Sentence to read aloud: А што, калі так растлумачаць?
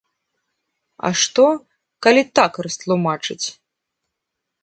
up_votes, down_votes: 3, 0